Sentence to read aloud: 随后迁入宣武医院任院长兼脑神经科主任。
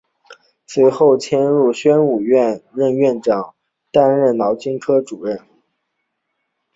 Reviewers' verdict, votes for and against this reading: rejected, 1, 2